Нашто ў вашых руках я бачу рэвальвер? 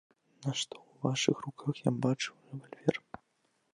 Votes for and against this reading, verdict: 0, 2, rejected